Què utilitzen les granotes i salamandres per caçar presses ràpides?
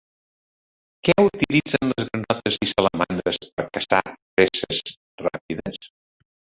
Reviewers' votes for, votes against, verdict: 1, 2, rejected